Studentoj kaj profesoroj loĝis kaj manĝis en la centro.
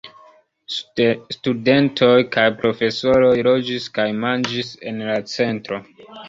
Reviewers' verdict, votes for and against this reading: rejected, 1, 2